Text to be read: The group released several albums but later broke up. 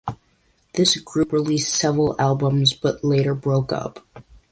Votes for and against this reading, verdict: 0, 2, rejected